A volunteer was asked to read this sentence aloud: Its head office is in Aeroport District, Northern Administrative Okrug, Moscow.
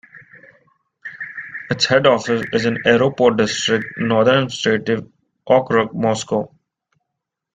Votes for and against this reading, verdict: 1, 2, rejected